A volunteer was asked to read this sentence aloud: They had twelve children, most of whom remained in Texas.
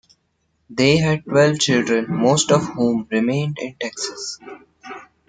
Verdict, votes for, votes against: accepted, 2, 0